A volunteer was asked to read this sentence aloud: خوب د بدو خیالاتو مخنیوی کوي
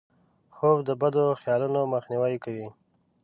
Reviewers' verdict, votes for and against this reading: rejected, 0, 2